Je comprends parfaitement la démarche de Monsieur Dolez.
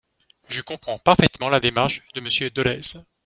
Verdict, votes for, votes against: rejected, 0, 2